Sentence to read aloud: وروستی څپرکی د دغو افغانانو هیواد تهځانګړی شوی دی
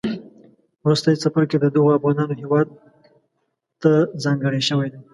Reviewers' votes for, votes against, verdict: 1, 2, rejected